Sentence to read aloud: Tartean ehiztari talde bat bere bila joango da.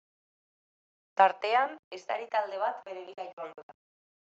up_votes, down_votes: 0, 2